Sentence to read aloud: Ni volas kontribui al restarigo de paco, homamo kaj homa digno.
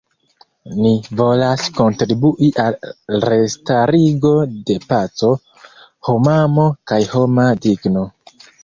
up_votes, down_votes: 2, 0